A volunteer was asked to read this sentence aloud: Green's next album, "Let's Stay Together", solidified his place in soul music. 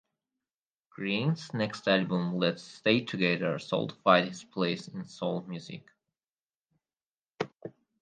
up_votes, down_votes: 2, 2